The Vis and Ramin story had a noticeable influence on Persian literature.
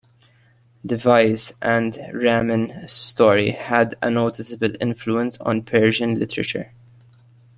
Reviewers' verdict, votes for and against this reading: accepted, 2, 0